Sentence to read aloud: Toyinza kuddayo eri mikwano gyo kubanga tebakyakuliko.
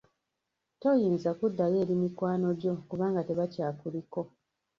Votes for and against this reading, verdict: 0, 2, rejected